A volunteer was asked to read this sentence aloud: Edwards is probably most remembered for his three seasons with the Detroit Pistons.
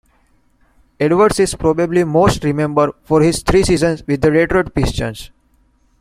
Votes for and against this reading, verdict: 2, 1, accepted